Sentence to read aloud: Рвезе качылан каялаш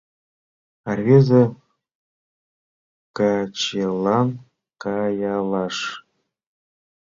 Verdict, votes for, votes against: rejected, 0, 2